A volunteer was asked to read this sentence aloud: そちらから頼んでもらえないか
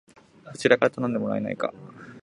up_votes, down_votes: 2, 0